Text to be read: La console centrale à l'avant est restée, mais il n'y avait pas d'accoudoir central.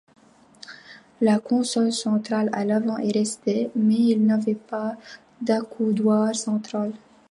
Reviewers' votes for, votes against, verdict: 2, 0, accepted